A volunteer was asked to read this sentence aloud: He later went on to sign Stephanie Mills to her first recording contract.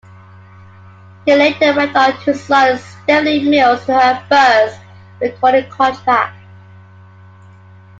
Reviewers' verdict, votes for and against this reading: rejected, 0, 2